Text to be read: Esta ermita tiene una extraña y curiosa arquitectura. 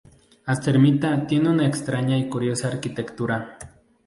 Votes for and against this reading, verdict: 0, 2, rejected